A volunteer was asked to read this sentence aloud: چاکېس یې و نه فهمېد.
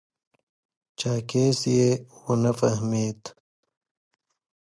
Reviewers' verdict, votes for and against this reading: accepted, 2, 0